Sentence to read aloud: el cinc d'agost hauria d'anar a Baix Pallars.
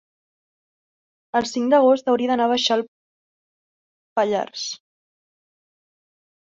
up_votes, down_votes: 0, 2